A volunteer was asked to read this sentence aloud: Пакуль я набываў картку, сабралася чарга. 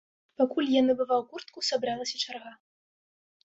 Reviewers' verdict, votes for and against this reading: rejected, 0, 2